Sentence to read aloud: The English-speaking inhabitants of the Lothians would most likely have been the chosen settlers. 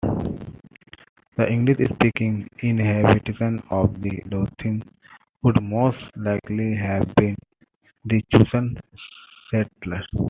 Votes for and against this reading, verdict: 2, 1, accepted